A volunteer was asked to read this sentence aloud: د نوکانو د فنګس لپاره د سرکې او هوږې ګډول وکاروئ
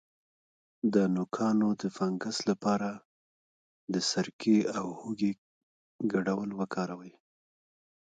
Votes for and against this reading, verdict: 2, 0, accepted